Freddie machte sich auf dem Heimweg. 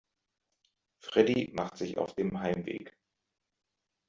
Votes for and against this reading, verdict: 1, 2, rejected